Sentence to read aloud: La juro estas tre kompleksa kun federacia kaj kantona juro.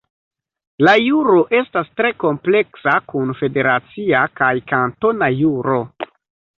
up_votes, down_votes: 2, 1